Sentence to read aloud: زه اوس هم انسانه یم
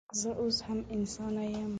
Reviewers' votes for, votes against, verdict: 2, 0, accepted